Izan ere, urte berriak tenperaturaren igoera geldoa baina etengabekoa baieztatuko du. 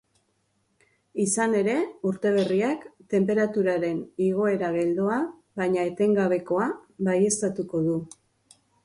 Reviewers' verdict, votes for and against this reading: accepted, 2, 0